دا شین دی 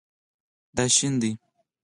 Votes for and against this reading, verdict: 2, 4, rejected